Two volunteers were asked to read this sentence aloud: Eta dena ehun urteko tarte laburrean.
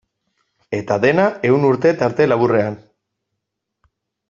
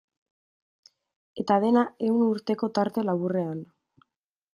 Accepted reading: second